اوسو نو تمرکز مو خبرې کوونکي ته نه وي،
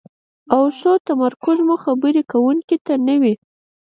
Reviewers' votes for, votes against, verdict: 0, 4, rejected